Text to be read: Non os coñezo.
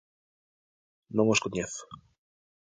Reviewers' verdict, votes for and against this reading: accepted, 2, 0